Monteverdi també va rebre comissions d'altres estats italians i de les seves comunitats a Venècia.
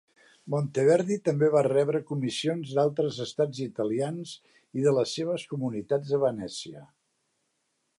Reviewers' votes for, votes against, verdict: 2, 0, accepted